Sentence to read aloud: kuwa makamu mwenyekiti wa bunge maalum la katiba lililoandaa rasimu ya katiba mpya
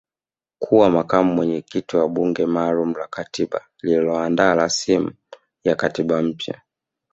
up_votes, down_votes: 1, 2